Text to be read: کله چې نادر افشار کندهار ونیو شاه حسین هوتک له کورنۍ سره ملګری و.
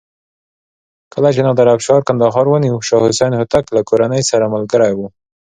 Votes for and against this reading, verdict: 2, 0, accepted